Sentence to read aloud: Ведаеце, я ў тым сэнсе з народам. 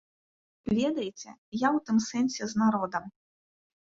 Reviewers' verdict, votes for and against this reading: accepted, 2, 0